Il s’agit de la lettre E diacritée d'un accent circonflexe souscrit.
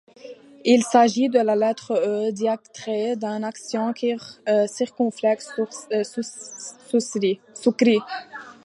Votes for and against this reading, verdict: 1, 2, rejected